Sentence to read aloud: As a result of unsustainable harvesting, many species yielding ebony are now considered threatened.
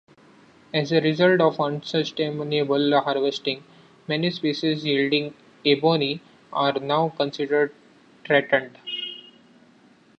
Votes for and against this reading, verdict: 1, 2, rejected